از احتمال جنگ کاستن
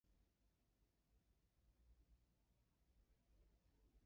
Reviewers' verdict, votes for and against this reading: rejected, 1, 2